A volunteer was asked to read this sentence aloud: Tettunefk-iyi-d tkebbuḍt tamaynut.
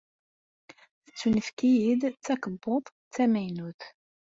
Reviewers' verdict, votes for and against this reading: accepted, 2, 0